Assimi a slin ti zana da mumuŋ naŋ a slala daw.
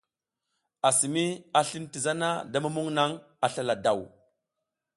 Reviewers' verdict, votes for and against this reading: accepted, 2, 0